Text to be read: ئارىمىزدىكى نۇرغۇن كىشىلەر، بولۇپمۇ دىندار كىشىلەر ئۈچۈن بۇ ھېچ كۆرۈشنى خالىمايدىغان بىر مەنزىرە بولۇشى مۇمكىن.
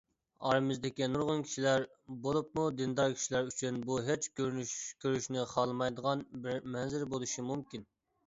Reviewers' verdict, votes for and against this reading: rejected, 1, 2